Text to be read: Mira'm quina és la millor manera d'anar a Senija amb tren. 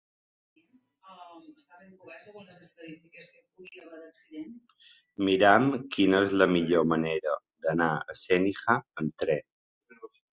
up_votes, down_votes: 1, 2